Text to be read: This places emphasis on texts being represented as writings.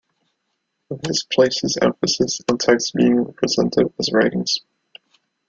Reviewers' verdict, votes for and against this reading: rejected, 0, 2